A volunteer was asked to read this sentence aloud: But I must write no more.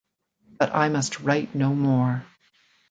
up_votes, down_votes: 2, 0